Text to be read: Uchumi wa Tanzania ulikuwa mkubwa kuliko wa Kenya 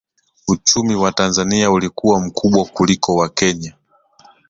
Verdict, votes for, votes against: accepted, 2, 0